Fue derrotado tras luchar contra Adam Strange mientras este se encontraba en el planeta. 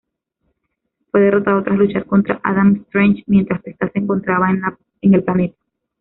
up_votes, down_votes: 1, 2